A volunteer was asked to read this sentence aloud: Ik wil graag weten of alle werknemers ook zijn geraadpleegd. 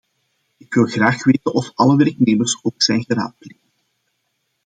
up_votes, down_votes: 2, 0